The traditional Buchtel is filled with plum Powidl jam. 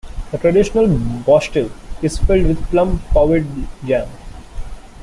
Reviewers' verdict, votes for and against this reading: accepted, 2, 0